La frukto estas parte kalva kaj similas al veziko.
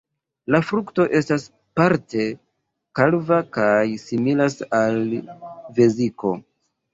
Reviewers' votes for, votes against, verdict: 2, 1, accepted